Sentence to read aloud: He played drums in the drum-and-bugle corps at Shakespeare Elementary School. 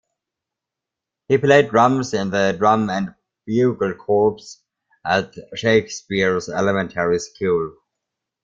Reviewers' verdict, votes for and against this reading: rejected, 0, 2